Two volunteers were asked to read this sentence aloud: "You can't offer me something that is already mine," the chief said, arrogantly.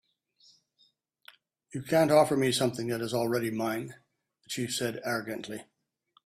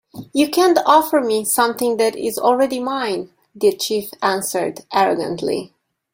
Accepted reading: first